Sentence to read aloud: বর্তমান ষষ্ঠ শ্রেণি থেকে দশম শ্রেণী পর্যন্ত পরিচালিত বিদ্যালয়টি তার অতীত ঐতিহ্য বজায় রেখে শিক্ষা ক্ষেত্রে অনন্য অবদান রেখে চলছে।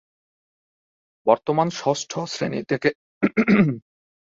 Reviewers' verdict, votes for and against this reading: rejected, 0, 2